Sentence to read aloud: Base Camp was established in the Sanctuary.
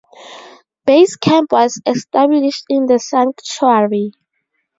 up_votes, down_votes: 2, 0